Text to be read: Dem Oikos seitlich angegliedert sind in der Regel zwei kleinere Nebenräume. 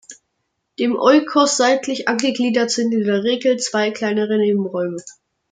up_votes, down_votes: 2, 0